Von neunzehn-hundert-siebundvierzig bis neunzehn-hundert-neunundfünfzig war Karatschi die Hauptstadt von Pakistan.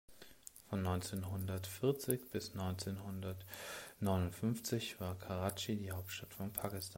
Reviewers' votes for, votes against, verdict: 0, 2, rejected